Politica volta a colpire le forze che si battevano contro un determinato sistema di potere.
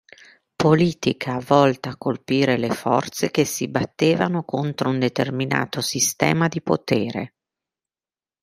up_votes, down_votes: 2, 0